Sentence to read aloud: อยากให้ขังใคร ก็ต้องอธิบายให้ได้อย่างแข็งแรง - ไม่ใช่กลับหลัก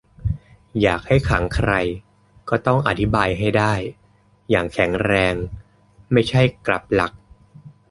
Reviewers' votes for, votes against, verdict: 2, 0, accepted